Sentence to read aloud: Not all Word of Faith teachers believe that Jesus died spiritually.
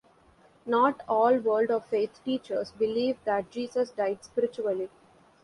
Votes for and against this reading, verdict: 1, 2, rejected